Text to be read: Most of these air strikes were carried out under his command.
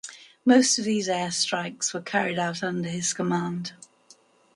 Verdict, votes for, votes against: accepted, 8, 6